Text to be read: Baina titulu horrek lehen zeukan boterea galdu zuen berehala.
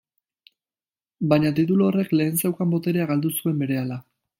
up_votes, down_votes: 2, 0